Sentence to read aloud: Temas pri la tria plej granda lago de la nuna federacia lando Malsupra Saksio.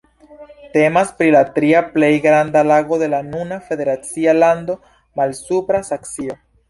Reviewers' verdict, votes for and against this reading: accepted, 2, 0